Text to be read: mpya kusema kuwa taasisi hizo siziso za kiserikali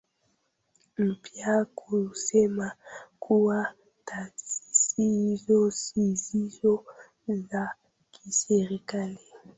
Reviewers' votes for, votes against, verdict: 0, 2, rejected